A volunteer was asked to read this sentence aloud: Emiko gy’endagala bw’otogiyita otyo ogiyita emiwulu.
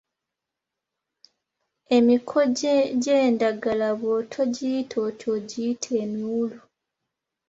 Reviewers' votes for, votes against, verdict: 2, 1, accepted